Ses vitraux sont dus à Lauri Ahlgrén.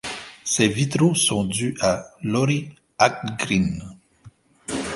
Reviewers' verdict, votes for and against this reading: accepted, 2, 0